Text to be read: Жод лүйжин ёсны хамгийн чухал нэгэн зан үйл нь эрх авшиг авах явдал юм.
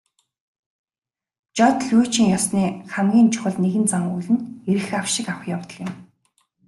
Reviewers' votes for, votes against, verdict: 2, 0, accepted